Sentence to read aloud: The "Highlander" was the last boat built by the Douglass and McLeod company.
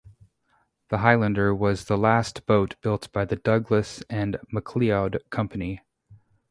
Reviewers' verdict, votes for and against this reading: accepted, 2, 0